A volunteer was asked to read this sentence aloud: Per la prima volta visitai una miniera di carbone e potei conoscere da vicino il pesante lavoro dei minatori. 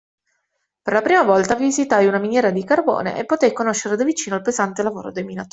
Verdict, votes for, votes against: rejected, 0, 2